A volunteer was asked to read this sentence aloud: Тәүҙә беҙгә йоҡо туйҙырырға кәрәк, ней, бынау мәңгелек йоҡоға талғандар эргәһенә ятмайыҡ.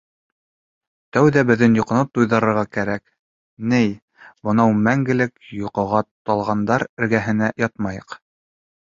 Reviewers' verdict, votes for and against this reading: rejected, 0, 2